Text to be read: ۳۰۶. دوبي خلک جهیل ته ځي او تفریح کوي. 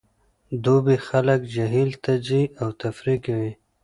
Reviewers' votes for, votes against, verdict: 0, 2, rejected